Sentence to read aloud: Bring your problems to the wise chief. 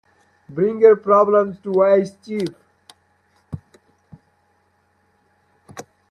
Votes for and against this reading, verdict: 0, 3, rejected